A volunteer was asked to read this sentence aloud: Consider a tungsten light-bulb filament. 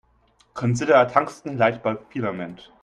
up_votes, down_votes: 1, 2